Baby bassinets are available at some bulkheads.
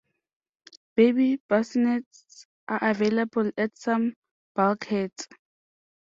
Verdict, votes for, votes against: accepted, 2, 0